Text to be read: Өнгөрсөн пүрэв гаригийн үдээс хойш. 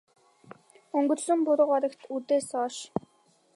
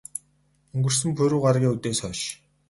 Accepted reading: second